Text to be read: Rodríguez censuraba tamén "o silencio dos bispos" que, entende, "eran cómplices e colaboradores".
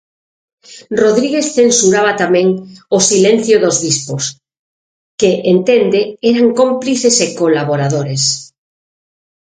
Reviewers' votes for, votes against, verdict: 6, 0, accepted